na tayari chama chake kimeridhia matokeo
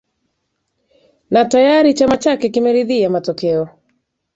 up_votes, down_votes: 2, 0